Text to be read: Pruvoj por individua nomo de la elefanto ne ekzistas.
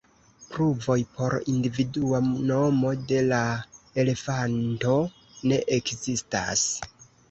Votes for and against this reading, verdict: 2, 0, accepted